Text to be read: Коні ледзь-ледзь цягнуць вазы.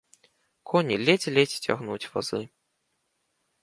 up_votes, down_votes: 2, 0